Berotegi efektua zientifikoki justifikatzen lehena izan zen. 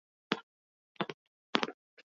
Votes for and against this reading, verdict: 0, 6, rejected